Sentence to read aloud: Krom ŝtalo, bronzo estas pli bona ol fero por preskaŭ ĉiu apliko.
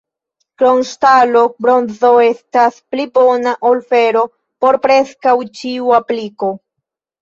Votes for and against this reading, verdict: 1, 2, rejected